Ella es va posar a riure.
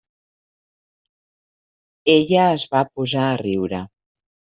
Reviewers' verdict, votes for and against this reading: rejected, 0, 2